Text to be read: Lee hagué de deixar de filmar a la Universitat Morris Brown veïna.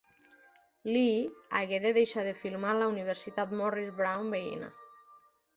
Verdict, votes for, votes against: accepted, 3, 0